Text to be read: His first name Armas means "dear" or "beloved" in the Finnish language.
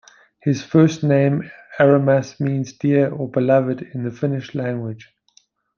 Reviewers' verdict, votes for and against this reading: rejected, 1, 2